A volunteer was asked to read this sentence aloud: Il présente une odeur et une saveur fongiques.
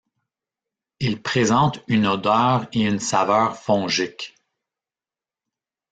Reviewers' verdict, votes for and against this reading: rejected, 1, 2